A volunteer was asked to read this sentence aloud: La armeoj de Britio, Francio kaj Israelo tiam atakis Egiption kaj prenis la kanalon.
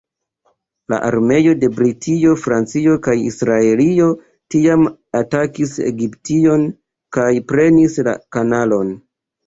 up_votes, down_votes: 0, 2